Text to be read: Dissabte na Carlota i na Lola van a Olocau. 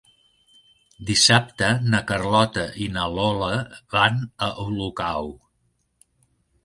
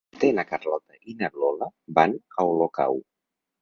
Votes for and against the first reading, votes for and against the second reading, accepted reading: 4, 0, 0, 4, first